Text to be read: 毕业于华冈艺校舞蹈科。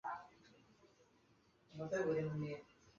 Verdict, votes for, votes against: rejected, 1, 4